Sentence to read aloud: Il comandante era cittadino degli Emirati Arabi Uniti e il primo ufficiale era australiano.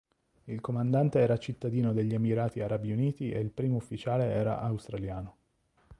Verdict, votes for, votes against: accepted, 2, 0